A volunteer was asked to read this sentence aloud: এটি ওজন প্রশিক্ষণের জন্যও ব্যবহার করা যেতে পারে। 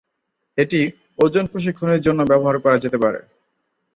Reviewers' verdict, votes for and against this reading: accepted, 2, 0